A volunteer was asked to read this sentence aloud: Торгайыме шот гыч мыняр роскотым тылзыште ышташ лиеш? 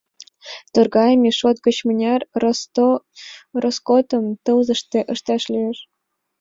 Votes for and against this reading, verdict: 0, 2, rejected